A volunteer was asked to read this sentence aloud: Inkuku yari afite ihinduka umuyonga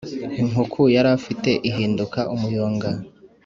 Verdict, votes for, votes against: accepted, 2, 0